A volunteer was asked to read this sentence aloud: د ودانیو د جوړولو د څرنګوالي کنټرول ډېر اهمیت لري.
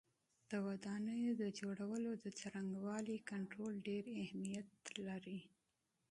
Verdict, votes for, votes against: accepted, 4, 0